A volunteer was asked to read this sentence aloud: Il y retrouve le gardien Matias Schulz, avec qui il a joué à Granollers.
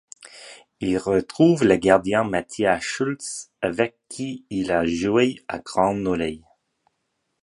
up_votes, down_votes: 0, 2